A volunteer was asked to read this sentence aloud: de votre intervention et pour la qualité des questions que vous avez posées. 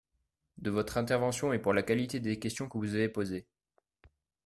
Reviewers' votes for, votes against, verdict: 2, 0, accepted